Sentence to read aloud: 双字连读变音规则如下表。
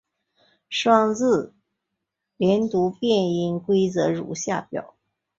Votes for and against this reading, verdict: 2, 0, accepted